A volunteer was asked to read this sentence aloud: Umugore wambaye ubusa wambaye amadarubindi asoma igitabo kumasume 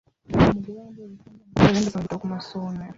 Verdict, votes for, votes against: rejected, 0, 2